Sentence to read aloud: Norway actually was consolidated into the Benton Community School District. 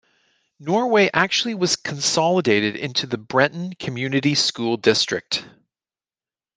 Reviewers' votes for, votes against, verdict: 0, 2, rejected